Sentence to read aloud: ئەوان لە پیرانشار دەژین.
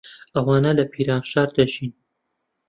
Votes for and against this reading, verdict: 0, 2, rejected